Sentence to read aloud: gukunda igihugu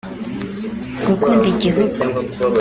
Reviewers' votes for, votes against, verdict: 3, 1, accepted